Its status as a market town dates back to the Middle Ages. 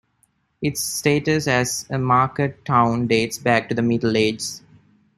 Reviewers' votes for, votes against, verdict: 0, 2, rejected